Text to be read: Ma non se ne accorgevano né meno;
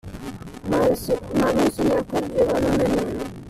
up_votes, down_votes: 0, 2